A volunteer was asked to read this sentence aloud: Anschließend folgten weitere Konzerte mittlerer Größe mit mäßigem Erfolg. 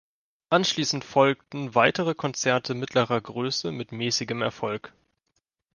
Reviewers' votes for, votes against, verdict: 2, 0, accepted